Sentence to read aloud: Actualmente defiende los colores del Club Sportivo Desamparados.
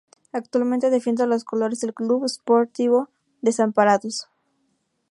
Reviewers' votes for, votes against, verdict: 2, 0, accepted